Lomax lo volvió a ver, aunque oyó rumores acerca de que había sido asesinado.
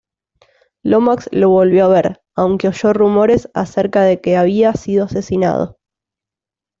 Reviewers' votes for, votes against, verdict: 2, 0, accepted